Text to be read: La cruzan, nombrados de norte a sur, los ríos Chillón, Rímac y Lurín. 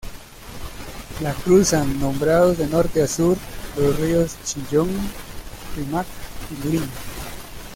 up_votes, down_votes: 0, 2